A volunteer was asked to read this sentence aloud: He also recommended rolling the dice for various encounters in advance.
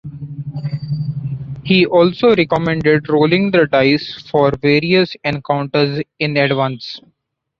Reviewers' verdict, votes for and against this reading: rejected, 0, 2